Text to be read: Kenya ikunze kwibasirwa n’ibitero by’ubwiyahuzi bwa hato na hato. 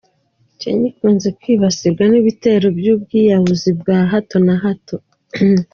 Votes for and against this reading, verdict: 3, 0, accepted